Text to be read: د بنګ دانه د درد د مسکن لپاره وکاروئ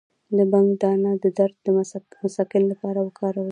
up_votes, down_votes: 2, 0